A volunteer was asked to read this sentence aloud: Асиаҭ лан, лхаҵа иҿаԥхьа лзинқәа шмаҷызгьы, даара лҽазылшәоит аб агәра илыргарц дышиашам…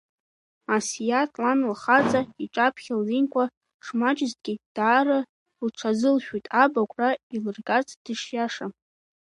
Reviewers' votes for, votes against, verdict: 1, 2, rejected